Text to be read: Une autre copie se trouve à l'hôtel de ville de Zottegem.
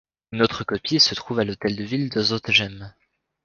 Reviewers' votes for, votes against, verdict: 2, 0, accepted